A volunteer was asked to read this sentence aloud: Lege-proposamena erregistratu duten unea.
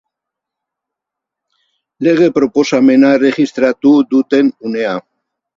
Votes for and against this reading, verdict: 2, 0, accepted